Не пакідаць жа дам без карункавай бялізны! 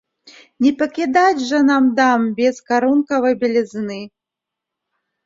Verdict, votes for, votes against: rejected, 0, 2